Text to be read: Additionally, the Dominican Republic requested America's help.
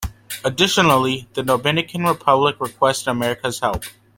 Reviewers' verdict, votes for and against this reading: accepted, 2, 1